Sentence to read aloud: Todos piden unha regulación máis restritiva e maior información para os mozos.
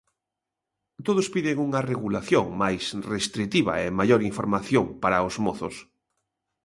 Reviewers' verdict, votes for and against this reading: accepted, 2, 0